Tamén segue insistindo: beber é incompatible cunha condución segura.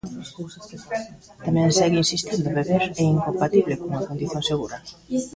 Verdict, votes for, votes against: accepted, 2, 0